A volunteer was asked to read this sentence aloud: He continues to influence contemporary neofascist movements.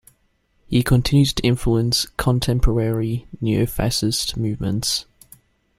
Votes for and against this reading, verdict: 2, 0, accepted